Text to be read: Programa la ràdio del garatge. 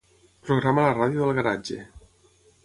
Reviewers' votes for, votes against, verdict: 6, 0, accepted